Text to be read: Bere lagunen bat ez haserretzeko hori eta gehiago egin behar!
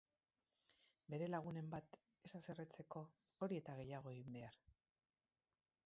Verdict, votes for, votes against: rejected, 2, 4